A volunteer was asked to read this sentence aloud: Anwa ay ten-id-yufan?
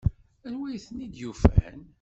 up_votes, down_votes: 1, 2